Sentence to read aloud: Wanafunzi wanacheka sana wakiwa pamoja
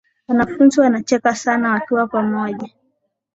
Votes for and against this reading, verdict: 3, 0, accepted